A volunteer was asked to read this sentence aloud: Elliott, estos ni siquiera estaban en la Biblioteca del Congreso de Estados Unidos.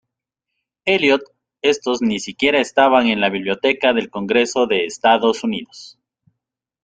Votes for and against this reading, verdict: 2, 0, accepted